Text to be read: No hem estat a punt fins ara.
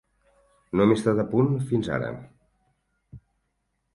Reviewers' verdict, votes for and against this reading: accepted, 8, 0